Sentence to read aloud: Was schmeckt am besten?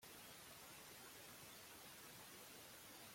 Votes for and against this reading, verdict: 0, 2, rejected